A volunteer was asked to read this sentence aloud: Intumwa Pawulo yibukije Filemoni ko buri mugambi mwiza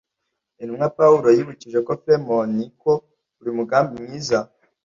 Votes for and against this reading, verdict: 1, 2, rejected